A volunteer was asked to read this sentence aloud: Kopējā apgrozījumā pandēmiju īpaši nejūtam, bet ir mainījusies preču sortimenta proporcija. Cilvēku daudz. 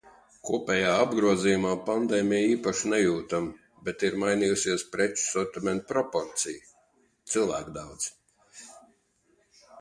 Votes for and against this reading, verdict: 2, 0, accepted